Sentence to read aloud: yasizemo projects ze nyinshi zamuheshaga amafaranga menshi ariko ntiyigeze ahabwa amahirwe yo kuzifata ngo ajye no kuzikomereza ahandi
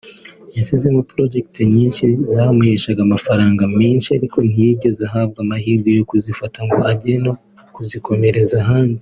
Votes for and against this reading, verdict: 1, 2, rejected